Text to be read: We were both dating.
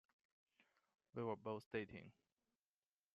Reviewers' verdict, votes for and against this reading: accepted, 2, 0